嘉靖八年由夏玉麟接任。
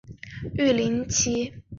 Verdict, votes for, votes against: rejected, 0, 2